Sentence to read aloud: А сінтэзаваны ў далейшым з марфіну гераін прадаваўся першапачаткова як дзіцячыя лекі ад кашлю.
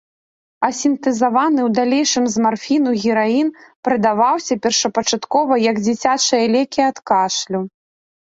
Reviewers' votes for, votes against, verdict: 2, 1, accepted